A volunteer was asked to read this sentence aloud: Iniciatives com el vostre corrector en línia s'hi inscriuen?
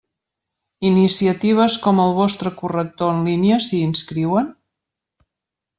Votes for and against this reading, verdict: 2, 0, accepted